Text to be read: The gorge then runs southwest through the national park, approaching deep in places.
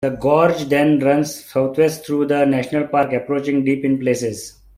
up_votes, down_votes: 2, 0